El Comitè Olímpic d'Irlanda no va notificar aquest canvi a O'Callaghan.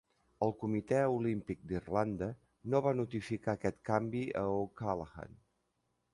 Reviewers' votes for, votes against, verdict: 2, 0, accepted